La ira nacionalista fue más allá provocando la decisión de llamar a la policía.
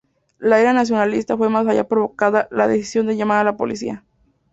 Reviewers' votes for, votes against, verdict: 0, 2, rejected